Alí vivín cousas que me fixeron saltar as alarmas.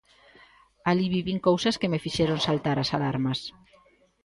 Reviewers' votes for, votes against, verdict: 2, 0, accepted